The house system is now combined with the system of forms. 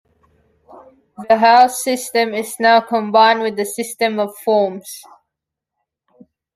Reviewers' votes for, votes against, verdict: 2, 0, accepted